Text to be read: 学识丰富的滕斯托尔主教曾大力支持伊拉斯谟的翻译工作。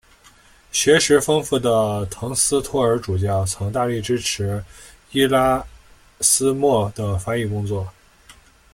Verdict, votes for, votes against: accepted, 2, 0